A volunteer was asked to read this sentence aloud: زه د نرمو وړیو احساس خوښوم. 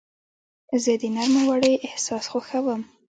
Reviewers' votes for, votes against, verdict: 0, 2, rejected